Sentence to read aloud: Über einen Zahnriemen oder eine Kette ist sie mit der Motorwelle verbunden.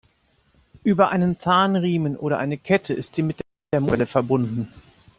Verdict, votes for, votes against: rejected, 0, 2